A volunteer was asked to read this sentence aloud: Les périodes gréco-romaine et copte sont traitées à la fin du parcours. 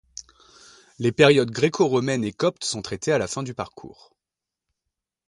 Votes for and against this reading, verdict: 2, 0, accepted